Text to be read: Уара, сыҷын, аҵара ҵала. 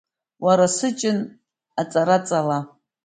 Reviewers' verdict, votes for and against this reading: accepted, 2, 0